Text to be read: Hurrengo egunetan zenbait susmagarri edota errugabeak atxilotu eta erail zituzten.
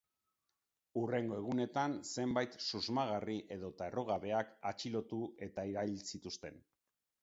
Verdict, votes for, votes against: accepted, 2, 0